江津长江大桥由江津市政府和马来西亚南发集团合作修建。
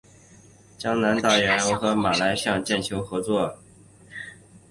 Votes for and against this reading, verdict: 1, 3, rejected